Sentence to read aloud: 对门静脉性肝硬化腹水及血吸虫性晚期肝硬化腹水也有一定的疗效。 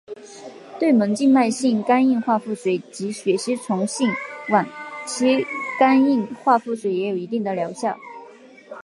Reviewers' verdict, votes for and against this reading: accepted, 3, 0